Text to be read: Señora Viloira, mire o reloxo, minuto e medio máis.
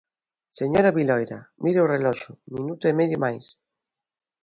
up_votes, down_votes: 2, 0